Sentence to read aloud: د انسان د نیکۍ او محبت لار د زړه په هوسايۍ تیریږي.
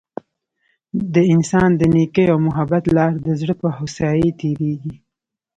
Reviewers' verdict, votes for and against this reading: rejected, 1, 2